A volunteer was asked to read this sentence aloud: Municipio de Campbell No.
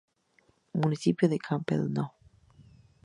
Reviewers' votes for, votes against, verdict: 2, 0, accepted